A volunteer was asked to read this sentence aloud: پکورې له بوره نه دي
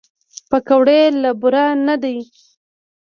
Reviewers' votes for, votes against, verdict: 2, 0, accepted